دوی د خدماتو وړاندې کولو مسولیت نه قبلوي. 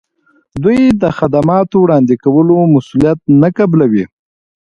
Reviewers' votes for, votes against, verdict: 2, 0, accepted